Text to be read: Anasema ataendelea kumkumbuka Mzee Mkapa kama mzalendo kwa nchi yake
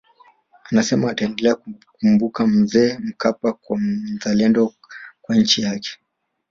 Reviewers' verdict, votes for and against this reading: rejected, 1, 2